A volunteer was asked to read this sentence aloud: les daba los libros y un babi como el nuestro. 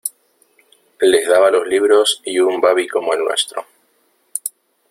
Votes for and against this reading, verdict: 1, 2, rejected